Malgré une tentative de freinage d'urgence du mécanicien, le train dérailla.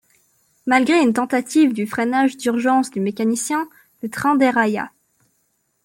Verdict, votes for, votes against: rejected, 0, 2